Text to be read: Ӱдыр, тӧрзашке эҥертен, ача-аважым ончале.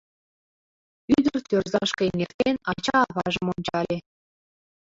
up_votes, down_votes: 2, 1